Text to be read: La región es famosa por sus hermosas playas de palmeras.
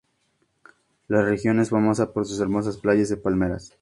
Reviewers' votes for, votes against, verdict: 2, 0, accepted